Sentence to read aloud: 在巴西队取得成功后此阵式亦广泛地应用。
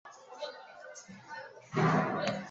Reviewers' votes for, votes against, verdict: 0, 3, rejected